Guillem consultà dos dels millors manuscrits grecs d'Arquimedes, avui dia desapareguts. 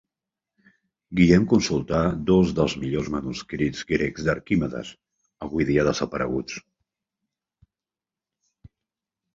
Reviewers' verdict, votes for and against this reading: accepted, 2, 1